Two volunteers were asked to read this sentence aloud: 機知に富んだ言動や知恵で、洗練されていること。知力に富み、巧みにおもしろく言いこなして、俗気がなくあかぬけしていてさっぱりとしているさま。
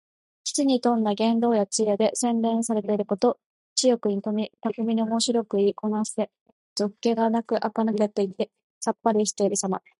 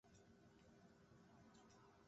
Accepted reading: first